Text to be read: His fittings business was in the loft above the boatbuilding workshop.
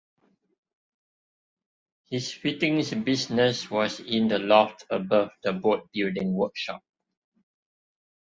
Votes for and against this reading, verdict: 2, 0, accepted